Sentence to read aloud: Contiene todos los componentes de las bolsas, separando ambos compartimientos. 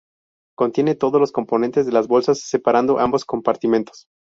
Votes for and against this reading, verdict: 0, 2, rejected